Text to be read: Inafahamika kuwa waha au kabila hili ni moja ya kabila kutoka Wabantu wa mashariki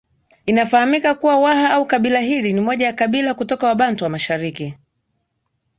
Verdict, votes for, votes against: rejected, 0, 2